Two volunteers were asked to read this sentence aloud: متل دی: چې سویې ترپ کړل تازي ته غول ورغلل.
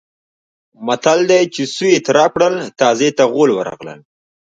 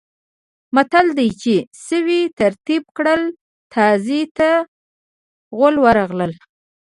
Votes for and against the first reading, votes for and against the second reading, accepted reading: 2, 0, 1, 2, first